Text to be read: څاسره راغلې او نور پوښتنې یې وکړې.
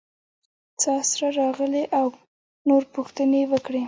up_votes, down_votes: 1, 2